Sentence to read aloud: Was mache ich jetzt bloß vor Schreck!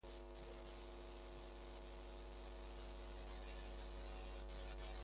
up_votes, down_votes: 0, 2